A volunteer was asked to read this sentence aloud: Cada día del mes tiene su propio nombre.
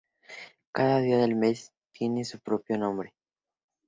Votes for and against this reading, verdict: 2, 0, accepted